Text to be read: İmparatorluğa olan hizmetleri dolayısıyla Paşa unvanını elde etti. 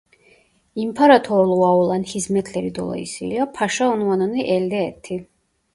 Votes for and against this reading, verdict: 1, 2, rejected